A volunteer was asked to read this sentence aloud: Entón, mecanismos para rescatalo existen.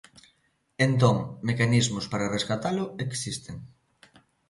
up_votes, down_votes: 2, 0